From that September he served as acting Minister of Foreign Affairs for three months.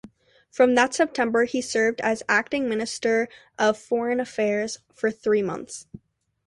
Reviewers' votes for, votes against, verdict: 2, 0, accepted